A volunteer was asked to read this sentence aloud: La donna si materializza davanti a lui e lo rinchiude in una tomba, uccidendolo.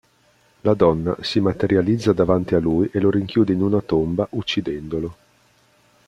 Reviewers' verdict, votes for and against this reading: accepted, 2, 0